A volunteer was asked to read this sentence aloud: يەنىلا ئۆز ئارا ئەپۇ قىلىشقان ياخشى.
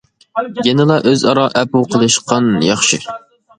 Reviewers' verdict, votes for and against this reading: accepted, 2, 0